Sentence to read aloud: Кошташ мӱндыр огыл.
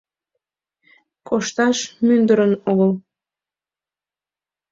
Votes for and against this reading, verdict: 2, 3, rejected